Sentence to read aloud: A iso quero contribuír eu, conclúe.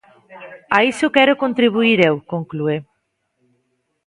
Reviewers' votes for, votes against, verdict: 1, 2, rejected